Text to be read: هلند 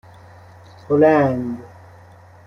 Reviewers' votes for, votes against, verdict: 2, 0, accepted